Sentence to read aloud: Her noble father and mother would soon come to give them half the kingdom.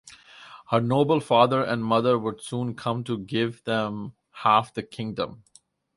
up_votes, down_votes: 4, 0